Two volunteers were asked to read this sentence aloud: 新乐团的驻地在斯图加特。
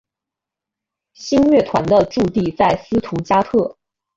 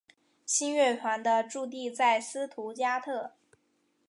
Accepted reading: first